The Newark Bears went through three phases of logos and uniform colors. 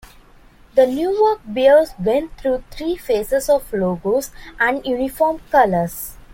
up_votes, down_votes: 2, 0